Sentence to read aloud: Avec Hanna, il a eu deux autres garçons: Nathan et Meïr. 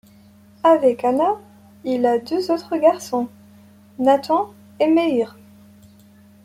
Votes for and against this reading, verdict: 1, 2, rejected